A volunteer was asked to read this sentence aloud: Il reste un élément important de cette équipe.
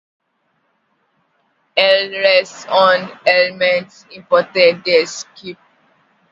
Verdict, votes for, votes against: rejected, 0, 2